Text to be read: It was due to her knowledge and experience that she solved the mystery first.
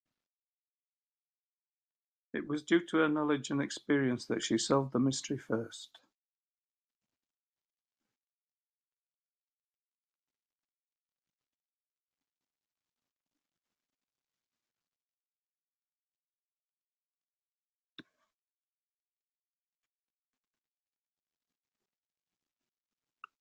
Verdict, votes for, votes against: rejected, 1, 2